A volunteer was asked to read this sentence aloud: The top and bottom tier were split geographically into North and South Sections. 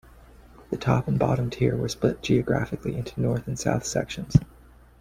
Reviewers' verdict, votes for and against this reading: accepted, 2, 1